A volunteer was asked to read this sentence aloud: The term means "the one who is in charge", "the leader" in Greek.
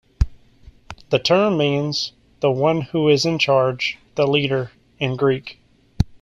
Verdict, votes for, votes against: accepted, 2, 0